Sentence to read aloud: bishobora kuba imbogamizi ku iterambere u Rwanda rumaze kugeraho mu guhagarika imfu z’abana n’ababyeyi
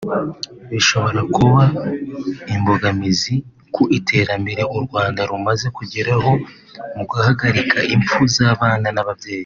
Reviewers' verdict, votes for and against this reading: accepted, 3, 0